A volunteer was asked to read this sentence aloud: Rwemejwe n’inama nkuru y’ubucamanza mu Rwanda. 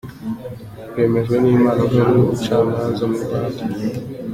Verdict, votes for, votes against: accepted, 2, 0